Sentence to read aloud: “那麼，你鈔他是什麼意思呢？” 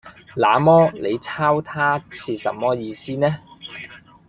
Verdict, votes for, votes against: accepted, 2, 0